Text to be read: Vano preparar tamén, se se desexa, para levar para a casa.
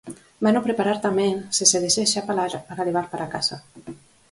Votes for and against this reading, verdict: 0, 2, rejected